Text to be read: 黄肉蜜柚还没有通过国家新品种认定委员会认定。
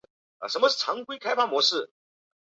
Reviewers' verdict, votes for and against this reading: rejected, 1, 2